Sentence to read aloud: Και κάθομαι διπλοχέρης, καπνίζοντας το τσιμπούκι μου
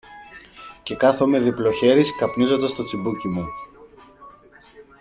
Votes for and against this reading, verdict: 2, 1, accepted